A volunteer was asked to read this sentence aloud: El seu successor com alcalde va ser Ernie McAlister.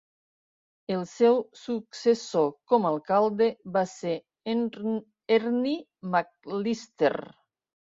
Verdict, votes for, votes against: rejected, 0, 2